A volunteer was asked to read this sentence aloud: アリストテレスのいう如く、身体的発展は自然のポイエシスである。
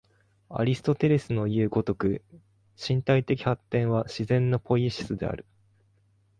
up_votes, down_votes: 2, 0